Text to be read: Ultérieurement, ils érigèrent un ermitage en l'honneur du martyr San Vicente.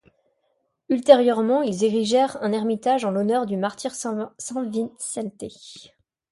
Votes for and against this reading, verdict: 0, 2, rejected